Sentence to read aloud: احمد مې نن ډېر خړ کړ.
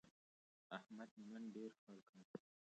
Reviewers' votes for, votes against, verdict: 0, 2, rejected